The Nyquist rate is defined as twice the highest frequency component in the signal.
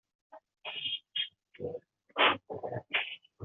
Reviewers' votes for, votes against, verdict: 0, 2, rejected